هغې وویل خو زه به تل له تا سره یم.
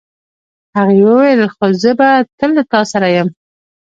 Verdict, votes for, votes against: rejected, 0, 2